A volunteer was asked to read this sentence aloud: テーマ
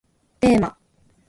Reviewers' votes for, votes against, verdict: 0, 2, rejected